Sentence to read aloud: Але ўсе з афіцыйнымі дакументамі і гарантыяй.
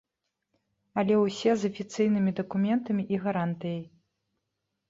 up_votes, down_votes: 2, 0